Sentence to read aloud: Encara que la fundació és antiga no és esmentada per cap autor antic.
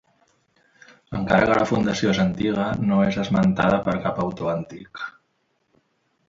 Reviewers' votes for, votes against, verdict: 2, 0, accepted